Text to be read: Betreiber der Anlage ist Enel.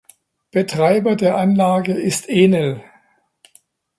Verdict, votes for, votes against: accepted, 3, 0